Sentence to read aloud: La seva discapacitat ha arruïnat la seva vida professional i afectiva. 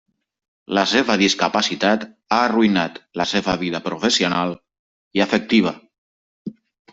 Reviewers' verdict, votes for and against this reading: rejected, 0, 2